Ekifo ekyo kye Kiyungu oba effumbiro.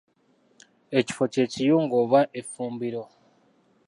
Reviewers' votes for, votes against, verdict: 0, 2, rejected